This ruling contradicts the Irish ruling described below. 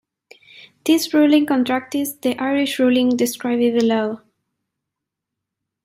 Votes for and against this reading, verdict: 0, 2, rejected